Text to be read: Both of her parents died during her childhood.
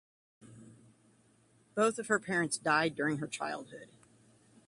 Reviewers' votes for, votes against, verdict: 2, 0, accepted